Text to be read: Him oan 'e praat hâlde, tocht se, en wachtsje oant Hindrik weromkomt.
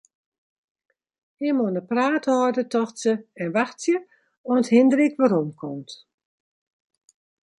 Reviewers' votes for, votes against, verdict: 2, 0, accepted